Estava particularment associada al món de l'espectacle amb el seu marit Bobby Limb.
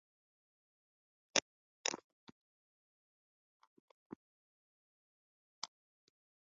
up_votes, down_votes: 0, 2